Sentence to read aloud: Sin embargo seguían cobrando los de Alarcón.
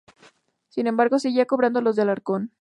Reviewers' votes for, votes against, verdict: 0, 2, rejected